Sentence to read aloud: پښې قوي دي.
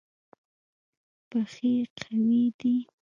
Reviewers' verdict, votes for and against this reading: rejected, 0, 2